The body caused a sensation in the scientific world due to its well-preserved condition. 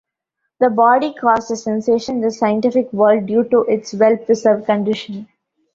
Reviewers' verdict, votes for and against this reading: accepted, 2, 1